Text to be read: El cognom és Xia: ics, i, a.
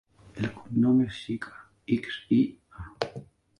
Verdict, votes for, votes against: rejected, 0, 2